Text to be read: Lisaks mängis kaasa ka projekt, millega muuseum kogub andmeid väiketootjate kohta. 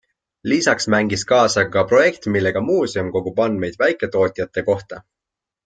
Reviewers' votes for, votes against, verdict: 4, 0, accepted